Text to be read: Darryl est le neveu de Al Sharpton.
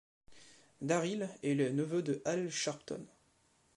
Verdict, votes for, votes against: accepted, 2, 0